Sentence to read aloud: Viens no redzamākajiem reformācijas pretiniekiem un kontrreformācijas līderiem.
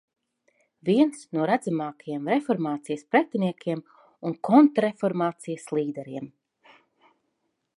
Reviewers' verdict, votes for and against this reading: accepted, 2, 0